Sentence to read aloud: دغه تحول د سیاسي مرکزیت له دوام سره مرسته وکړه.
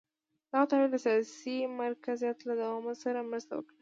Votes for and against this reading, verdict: 0, 2, rejected